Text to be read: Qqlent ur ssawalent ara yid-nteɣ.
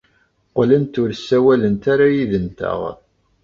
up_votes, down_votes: 2, 0